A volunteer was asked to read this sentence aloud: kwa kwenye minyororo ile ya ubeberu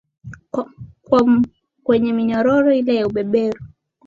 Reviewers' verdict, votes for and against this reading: accepted, 4, 1